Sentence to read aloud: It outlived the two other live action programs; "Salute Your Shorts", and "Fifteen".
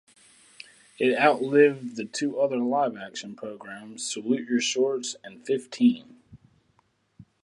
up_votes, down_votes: 0, 2